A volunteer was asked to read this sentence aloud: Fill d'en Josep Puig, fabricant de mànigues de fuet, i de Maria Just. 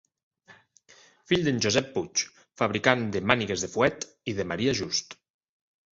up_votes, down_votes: 3, 0